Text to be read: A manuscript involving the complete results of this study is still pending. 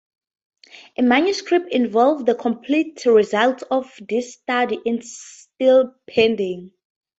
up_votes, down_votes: 0, 4